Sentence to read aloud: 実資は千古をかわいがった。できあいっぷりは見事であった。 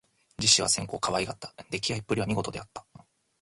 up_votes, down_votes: 3, 0